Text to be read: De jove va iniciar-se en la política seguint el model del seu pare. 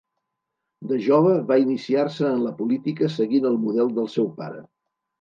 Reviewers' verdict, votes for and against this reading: accepted, 4, 0